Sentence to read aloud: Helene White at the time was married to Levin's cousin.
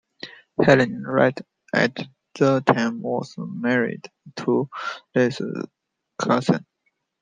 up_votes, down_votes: 0, 2